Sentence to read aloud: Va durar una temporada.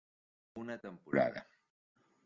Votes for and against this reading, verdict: 0, 2, rejected